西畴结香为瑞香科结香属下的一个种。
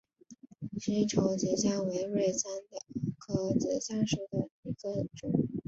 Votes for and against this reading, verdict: 0, 2, rejected